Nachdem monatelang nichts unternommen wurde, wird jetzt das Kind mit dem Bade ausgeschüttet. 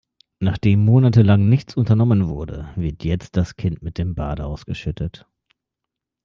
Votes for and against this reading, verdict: 2, 0, accepted